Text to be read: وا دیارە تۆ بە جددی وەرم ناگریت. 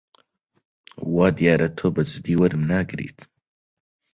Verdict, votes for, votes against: accepted, 2, 0